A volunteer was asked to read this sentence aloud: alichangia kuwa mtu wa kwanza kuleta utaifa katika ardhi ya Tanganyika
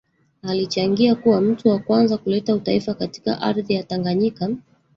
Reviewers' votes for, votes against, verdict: 1, 2, rejected